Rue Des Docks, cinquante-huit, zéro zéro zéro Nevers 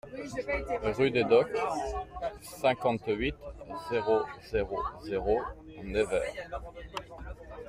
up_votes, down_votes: 1, 2